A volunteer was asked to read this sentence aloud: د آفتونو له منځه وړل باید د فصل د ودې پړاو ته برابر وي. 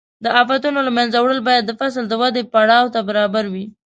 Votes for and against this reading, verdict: 2, 0, accepted